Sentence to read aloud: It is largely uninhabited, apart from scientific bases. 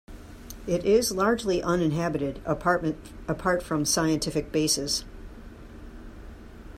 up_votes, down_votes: 1, 2